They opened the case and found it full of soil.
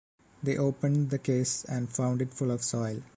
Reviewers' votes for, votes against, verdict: 2, 0, accepted